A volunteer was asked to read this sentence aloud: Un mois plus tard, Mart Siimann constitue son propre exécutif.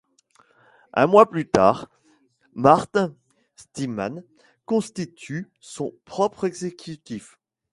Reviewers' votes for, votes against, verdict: 1, 2, rejected